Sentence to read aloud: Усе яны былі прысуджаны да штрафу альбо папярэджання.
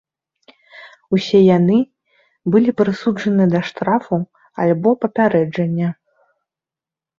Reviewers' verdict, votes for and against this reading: accepted, 2, 0